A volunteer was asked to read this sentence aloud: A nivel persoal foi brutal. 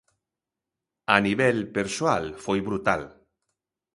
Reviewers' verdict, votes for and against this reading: accepted, 2, 0